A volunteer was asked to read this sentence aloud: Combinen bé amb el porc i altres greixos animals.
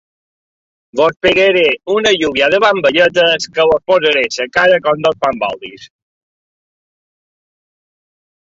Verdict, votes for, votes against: rejected, 1, 2